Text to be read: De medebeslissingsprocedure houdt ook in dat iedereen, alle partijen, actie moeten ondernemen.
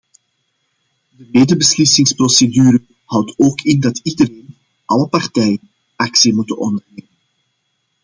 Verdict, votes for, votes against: rejected, 0, 2